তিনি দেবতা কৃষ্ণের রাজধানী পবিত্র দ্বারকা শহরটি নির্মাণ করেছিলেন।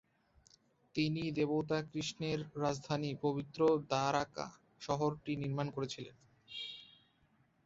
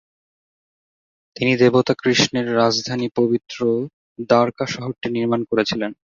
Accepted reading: second